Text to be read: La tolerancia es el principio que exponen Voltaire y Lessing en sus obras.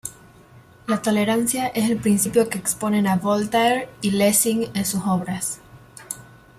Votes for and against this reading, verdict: 1, 2, rejected